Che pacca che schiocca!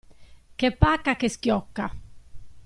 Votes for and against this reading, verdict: 2, 0, accepted